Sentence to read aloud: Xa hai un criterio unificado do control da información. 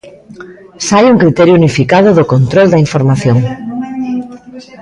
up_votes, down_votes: 1, 2